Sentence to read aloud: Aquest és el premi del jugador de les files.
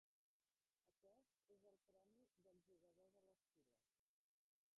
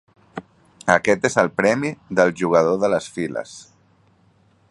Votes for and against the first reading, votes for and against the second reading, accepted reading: 0, 2, 3, 0, second